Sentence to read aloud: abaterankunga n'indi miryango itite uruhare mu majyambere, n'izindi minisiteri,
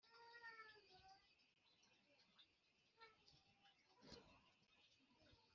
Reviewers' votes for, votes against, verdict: 0, 3, rejected